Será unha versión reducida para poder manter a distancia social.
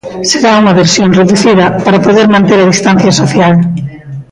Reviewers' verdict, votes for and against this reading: accepted, 2, 1